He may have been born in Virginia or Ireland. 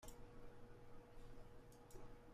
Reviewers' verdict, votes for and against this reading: rejected, 0, 2